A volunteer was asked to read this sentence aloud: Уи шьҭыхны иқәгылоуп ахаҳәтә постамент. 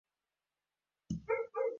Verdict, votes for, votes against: rejected, 0, 2